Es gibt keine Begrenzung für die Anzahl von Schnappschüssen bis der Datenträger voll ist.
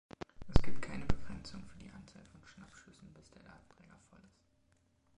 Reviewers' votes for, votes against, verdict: 0, 2, rejected